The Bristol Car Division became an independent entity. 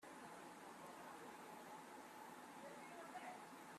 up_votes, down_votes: 0, 2